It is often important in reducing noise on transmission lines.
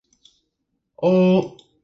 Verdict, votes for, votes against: rejected, 0, 2